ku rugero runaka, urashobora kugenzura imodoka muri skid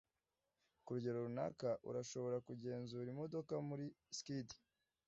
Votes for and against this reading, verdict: 2, 0, accepted